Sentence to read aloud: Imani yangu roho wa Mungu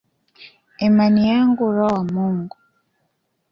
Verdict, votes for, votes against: accepted, 2, 0